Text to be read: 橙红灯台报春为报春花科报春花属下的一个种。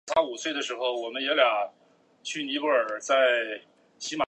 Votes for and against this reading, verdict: 0, 2, rejected